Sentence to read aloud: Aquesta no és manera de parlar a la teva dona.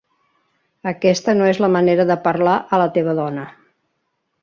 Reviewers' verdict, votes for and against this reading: rejected, 1, 3